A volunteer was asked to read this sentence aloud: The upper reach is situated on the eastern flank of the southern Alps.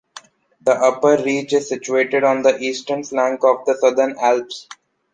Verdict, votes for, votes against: accepted, 2, 0